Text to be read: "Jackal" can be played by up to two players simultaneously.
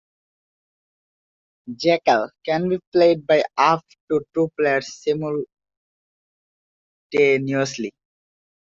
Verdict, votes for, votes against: accepted, 2, 0